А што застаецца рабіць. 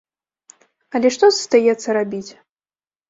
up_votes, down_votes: 1, 2